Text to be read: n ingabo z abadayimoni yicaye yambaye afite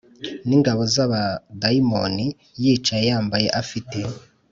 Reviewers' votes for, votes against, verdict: 3, 0, accepted